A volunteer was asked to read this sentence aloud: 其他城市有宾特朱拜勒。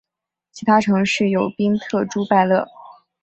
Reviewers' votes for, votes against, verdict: 6, 0, accepted